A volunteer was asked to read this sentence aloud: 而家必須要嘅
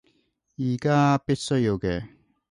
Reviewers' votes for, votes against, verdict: 2, 0, accepted